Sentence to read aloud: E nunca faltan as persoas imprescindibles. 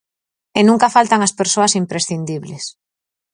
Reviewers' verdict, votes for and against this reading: accepted, 4, 0